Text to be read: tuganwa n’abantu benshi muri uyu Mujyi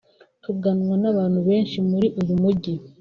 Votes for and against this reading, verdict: 2, 0, accepted